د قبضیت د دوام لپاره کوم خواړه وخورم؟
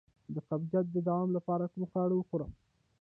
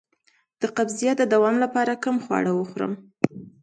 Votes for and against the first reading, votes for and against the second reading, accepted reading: 0, 2, 2, 0, second